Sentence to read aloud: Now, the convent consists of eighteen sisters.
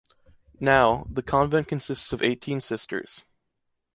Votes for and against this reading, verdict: 2, 0, accepted